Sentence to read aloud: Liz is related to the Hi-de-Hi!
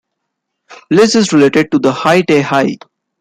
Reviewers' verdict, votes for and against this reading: accepted, 2, 1